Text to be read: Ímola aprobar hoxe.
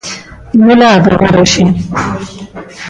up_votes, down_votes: 1, 2